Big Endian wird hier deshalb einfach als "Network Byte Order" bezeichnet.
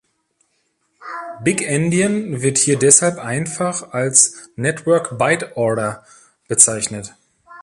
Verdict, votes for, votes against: accepted, 2, 0